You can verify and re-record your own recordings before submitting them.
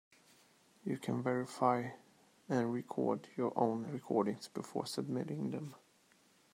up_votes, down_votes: 1, 2